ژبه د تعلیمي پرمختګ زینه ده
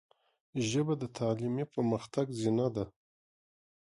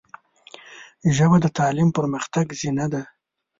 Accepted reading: first